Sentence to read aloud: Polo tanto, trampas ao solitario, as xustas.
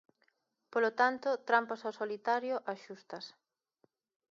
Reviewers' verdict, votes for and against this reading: accepted, 3, 0